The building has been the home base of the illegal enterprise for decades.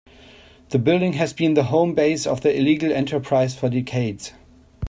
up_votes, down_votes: 2, 0